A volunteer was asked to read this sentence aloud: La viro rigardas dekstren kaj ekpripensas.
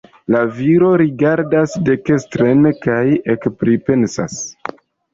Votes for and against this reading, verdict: 2, 3, rejected